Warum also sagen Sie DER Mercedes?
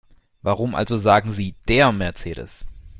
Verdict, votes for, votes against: accepted, 2, 0